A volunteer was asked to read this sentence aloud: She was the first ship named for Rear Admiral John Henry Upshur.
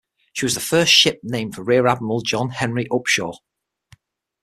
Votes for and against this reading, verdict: 6, 0, accepted